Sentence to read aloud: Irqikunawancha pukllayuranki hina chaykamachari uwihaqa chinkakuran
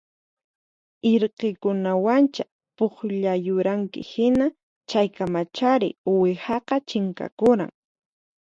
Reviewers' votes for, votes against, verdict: 4, 0, accepted